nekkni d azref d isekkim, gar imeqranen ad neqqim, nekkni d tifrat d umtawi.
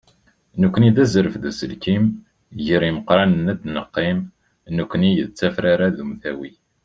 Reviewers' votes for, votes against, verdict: 1, 2, rejected